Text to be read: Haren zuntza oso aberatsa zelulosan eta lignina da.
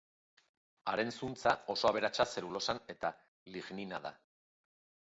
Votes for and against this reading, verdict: 2, 0, accepted